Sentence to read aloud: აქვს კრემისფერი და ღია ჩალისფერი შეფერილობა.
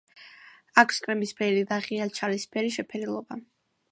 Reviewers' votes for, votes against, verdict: 2, 0, accepted